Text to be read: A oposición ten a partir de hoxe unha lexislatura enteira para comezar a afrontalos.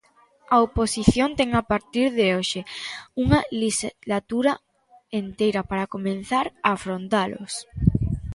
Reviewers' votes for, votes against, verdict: 0, 2, rejected